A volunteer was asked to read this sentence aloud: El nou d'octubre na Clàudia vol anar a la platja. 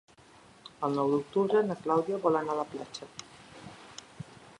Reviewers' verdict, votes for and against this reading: accepted, 2, 0